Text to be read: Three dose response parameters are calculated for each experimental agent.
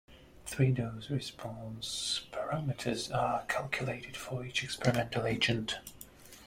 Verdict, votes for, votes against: accepted, 2, 0